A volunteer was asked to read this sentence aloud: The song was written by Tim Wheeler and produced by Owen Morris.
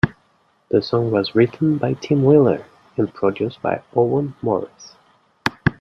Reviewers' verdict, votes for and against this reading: accepted, 2, 0